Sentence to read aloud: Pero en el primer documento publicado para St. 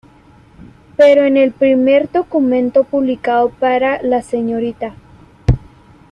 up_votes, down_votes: 1, 2